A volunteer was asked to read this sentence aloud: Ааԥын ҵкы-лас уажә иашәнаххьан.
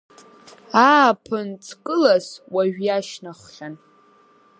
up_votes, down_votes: 0, 3